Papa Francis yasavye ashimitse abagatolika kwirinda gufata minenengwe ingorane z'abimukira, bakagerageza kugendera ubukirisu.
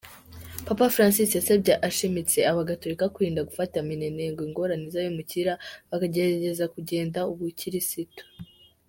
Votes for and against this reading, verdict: 0, 2, rejected